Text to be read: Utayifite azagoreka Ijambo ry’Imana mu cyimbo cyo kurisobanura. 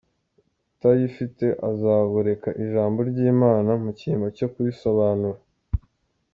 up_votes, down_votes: 2, 0